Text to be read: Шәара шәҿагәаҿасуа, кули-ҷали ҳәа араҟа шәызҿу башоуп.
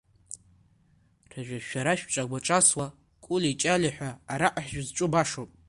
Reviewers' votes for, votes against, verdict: 0, 2, rejected